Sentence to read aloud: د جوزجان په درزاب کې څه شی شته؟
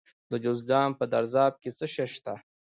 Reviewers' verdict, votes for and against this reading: accepted, 2, 0